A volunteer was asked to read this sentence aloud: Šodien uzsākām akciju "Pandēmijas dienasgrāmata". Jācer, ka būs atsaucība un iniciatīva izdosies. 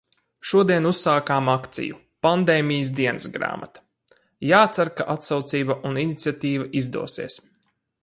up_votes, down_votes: 2, 4